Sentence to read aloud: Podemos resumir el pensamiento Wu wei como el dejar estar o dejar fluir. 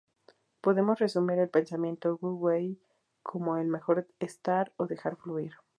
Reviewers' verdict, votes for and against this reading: rejected, 0, 2